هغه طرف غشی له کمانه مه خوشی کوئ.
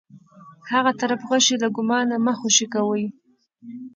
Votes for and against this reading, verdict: 2, 0, accepted